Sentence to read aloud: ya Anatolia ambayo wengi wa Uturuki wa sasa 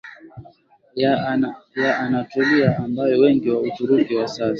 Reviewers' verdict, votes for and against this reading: accepted, 22, 2